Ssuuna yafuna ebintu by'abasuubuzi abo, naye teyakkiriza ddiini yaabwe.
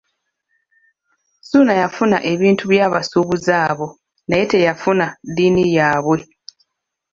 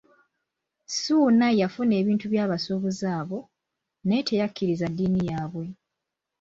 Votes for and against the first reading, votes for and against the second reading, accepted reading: 1, 2, 2, 1, second